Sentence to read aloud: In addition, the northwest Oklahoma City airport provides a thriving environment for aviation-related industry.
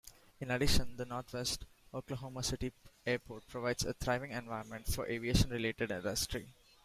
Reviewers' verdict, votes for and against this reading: accepted, 2, 1